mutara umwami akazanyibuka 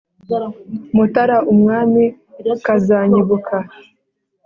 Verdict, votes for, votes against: accepted, 2, 0